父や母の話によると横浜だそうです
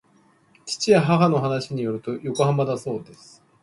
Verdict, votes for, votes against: rejected, 1, 2